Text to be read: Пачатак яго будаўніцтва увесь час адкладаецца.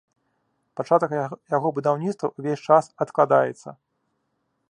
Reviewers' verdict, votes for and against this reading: rejected, 1, 2